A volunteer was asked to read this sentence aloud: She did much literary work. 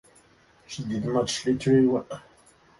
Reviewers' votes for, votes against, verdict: 2, 0, accepted